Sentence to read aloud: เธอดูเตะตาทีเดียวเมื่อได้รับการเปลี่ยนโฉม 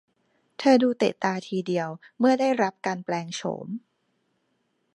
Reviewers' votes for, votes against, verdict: 0, 2, rejected